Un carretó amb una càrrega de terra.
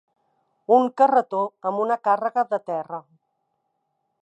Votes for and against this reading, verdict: 3, 0, accepted